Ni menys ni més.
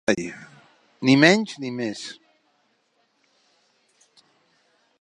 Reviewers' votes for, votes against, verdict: 1, 2, rejected